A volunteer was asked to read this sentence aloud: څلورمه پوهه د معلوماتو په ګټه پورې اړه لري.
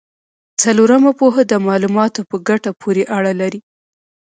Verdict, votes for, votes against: accepted, 2, 0